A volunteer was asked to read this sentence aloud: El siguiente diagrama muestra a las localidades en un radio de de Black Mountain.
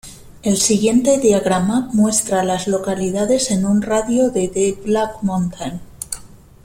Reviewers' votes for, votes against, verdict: 2, 0, accepted